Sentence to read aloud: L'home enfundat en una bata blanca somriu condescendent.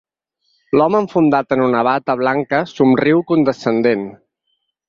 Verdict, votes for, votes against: accepted, 4, 0